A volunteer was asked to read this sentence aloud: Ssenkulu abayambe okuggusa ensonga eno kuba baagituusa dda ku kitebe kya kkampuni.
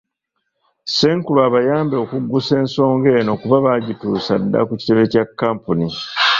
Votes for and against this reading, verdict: 0, 2, rejected